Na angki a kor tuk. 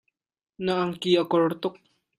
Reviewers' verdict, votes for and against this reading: accepted, 2, 0